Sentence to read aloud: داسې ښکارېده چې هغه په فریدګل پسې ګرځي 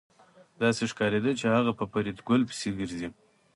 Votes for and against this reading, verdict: 0, 2, rejected